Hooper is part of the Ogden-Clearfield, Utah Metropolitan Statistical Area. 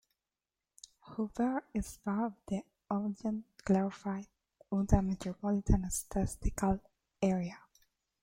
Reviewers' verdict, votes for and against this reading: rejected, 1, 2